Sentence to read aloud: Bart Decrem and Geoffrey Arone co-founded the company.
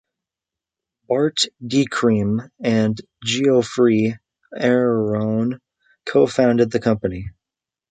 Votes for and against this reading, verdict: 1, 3, rejected